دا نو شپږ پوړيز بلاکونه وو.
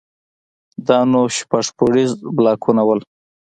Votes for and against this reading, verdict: 2, 0, accepted